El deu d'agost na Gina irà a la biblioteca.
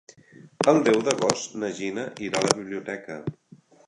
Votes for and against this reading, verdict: 3, 0, accepted